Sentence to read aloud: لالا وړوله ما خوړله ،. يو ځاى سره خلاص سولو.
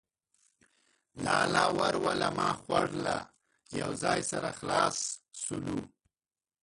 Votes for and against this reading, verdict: 0, 2, rejected